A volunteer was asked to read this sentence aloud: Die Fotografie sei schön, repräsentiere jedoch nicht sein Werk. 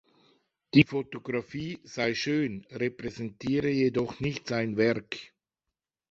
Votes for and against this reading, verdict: 2, 0, accepted